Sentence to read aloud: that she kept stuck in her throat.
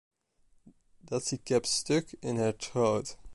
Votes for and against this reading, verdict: 1, 2, rejected